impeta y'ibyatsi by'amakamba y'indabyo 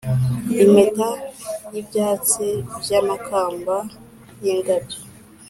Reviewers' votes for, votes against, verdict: 3, 0, accepted